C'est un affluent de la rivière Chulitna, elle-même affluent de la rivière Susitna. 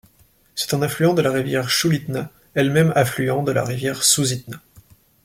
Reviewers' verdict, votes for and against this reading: accepted, 2, 0